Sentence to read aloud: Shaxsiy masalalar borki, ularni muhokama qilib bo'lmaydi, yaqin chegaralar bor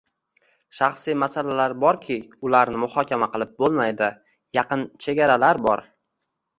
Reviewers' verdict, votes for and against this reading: accepted, 2, 0